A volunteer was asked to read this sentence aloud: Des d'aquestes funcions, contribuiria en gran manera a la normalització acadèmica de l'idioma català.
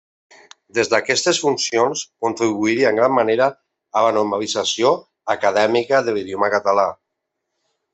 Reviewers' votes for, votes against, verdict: 1, 2, rejected